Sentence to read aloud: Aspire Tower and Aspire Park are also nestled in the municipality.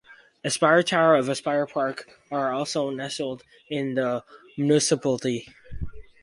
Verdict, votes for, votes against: rejected, 0, 4